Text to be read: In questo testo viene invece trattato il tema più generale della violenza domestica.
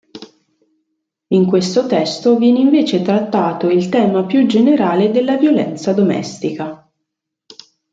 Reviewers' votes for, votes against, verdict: 2, 0, accepted